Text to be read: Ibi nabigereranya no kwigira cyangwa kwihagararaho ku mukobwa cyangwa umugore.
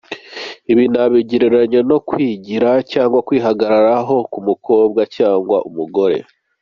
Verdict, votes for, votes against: accepted, 2, 0